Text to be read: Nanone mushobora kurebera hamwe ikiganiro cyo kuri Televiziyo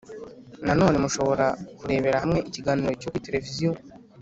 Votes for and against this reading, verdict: 3, 0, accepted